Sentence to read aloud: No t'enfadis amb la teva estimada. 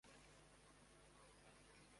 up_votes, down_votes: 0, 2